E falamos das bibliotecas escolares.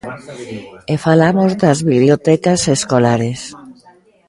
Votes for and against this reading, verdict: 1, 2, rejected